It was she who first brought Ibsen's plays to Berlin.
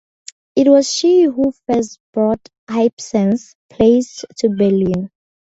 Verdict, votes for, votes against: accepted, 4, 0